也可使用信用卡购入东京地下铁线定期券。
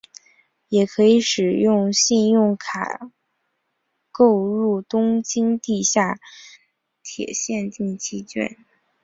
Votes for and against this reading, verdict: 0, 2, rejected